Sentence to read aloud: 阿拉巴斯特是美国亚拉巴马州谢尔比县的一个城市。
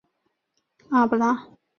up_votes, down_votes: 1, 6